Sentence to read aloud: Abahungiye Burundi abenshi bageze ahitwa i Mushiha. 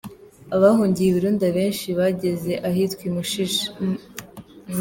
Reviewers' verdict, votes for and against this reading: rejected, 0, 3